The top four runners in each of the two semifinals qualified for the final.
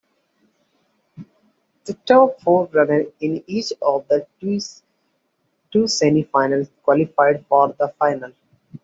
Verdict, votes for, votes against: rejected, 1, 2